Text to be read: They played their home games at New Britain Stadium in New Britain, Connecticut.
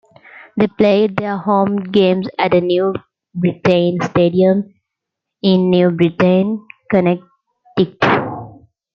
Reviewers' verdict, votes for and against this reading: rejected, 0, 2